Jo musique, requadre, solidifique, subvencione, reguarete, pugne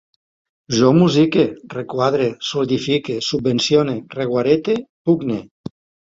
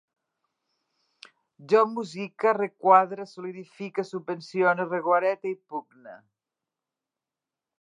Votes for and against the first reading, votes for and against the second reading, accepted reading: 2, 0, 1, 2, first